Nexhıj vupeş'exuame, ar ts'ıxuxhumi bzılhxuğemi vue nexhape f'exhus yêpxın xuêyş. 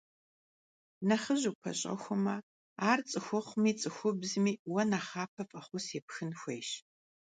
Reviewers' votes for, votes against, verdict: 0, 2, rejected